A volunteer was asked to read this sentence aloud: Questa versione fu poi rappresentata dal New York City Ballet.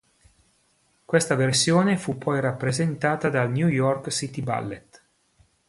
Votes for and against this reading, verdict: 2, 0, accepted